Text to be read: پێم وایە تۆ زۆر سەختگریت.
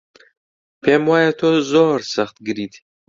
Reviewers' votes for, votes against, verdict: 2, 0, accepted